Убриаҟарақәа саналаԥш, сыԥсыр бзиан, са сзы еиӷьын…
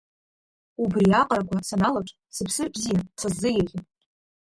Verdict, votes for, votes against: accepted, 2, 1